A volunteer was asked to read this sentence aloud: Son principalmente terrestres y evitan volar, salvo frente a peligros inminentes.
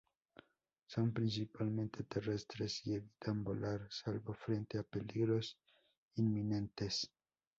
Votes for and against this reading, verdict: 2, 0, accepted